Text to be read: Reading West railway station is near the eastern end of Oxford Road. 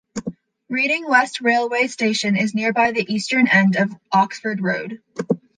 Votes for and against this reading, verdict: 0, 2, rejected